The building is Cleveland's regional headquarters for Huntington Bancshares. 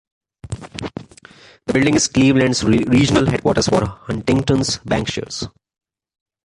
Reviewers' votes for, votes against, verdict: 0, 2, rejected